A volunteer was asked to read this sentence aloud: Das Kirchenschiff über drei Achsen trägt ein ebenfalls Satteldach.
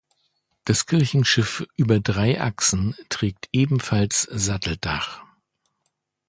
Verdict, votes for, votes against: rejected, 0, 2